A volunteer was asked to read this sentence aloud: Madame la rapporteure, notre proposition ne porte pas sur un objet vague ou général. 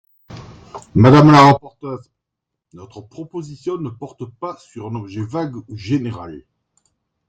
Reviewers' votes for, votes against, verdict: 1, 2, rejected